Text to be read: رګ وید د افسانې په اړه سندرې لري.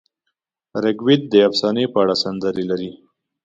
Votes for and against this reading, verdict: 2, 0, accepted